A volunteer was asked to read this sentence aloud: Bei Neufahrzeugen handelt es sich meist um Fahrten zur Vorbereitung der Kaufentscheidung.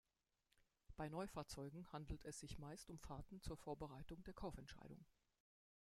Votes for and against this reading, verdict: 1, 2, rejected